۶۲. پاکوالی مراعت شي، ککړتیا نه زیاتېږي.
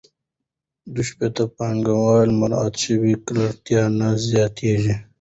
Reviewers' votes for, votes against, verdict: 0, 2, rejected